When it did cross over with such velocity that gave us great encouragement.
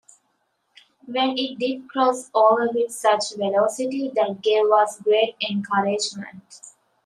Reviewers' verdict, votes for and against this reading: accepted, 2, 0